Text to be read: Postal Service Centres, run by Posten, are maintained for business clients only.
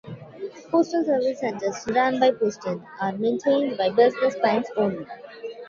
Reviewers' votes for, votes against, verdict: 0, 2, rejected